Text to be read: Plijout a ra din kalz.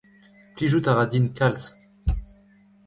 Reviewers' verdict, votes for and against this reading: accepted, 2, 1